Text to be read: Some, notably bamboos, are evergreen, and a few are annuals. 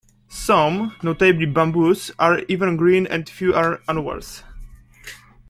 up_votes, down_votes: 1, 2